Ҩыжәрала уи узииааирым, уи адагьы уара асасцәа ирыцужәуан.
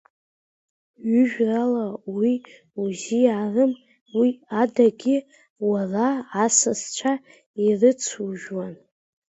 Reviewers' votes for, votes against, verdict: 0, 2, rejected